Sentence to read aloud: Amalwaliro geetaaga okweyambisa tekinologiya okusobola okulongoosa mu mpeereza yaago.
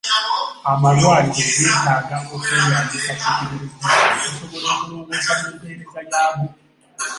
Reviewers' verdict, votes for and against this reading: rejected, 0, 2